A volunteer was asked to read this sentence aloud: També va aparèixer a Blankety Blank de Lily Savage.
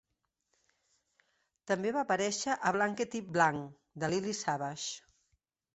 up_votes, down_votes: 3, 0